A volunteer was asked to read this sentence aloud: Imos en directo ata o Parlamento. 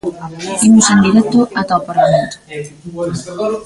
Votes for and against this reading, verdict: 1, 2, rejected